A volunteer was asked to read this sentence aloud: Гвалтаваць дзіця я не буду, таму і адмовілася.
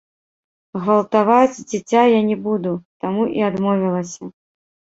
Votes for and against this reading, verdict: 1, 2, rejected